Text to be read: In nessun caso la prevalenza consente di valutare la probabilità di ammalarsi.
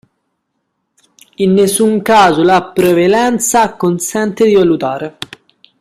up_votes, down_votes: 1, 2